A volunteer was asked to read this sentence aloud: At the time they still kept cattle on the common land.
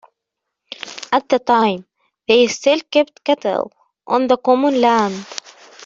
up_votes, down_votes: 1, 2